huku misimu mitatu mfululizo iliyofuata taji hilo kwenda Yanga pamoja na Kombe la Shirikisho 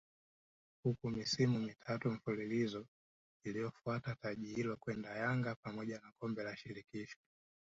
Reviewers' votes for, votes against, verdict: 1, 2, rejected